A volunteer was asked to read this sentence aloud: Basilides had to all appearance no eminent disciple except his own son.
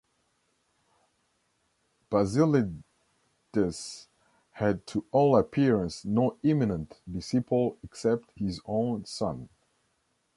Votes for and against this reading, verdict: 0, 2, rejected